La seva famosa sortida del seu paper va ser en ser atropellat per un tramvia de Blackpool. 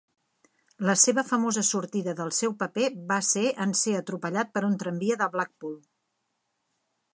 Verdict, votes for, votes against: accepted, 3, 0